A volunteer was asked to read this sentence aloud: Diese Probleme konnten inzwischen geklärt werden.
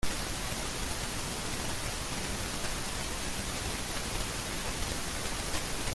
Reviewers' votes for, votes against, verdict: 0, 2, rejected